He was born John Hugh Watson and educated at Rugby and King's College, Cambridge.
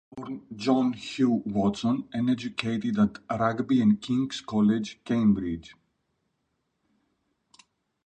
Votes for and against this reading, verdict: 0, 2, rejected